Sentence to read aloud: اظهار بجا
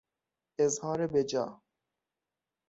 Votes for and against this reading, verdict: 6, 0, accepted